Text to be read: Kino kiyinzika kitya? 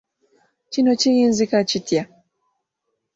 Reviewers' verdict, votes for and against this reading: accepted, 3, 0